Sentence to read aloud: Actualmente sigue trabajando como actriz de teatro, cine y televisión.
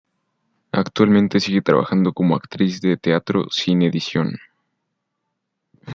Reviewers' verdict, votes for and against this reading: rejected, 0, 2